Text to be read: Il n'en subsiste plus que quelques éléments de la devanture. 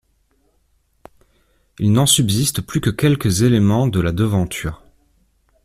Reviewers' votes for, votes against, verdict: 2, 0, accepted